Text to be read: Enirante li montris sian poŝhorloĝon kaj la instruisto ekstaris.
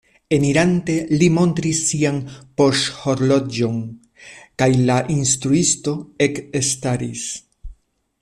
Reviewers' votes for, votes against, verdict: 2, 1, accepted